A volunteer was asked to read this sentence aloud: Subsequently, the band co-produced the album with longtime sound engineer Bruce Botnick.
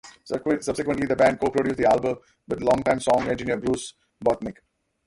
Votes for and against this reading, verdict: 0, 2, rejected